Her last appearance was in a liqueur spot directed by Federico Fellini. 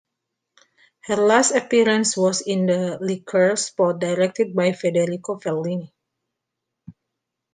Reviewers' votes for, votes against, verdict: 2, 1, accepted